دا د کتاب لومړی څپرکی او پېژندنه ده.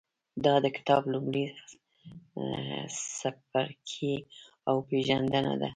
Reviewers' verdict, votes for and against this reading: rejected, 1, 2